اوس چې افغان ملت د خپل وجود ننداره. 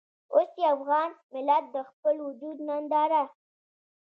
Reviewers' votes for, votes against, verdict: 1, 2, rejected